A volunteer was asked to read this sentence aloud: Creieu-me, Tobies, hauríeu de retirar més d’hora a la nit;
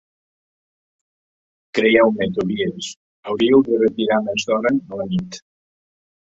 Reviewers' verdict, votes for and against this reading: accepted, 4, 1